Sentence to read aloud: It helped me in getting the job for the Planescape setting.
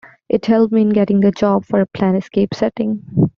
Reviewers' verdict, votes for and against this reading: rejected, 1, 2